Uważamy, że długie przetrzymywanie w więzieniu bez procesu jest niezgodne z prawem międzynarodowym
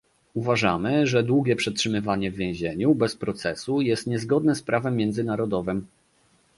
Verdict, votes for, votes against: accepted, 2, 0